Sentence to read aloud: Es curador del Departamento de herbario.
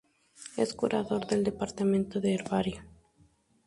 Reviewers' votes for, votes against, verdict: 2, 0, accepted